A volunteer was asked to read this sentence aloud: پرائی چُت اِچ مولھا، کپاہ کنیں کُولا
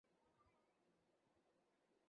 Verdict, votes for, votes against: rejected, 0, 2